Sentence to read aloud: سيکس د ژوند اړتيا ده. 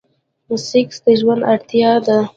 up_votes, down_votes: 2, 1